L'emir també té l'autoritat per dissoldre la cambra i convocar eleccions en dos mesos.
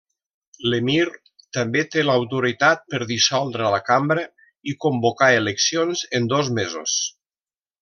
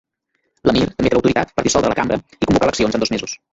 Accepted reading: first